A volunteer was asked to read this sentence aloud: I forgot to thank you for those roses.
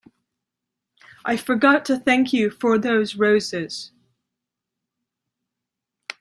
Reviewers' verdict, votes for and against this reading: accepted, 2, 0